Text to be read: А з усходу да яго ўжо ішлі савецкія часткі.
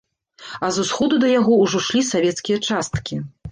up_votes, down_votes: 0, 2